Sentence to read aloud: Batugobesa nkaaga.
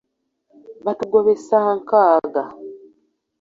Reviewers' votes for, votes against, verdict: 0, 2, rejected